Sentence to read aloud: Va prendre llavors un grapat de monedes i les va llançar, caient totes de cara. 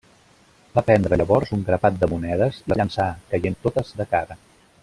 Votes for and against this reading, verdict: 0, 2, rejected